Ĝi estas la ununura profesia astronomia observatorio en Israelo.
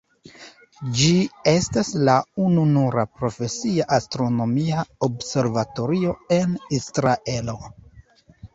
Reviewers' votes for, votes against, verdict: 2, 1, accepted